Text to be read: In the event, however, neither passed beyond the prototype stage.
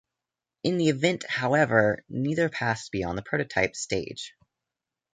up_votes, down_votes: 2, 0